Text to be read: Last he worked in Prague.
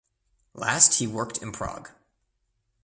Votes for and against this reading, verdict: 2, 0, accepted